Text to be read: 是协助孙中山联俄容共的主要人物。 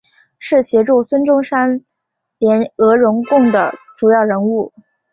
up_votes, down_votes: 4, 0